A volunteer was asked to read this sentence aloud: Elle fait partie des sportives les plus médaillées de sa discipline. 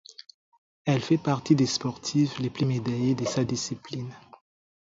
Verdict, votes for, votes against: accepted, 4, 0